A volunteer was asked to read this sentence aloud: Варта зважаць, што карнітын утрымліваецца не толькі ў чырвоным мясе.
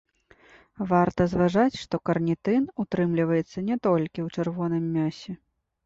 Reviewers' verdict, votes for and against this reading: accepted, 2, 0